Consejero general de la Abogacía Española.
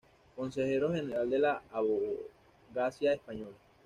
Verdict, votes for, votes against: rejected, 1, 2